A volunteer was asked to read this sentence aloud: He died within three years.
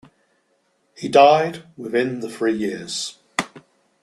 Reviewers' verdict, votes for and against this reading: rejected, 1, 2